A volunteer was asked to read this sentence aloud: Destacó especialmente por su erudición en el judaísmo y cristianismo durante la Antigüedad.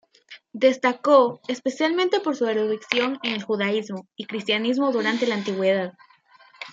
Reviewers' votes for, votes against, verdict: 2, 0, accepted